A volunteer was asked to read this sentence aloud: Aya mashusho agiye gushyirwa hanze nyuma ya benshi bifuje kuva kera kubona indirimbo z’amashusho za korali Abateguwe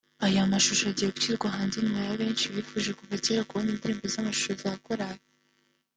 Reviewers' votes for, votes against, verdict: 0, 3, rejected